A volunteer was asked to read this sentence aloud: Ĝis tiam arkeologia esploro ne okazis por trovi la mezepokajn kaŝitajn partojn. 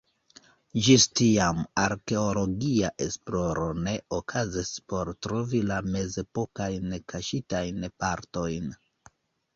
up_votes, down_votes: 2, 0